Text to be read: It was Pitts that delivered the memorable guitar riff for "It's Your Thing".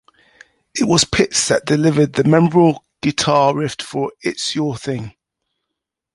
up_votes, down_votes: 2, 0